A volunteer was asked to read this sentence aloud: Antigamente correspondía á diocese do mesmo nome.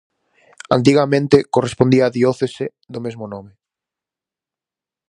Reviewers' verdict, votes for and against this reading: rejected, 0, 4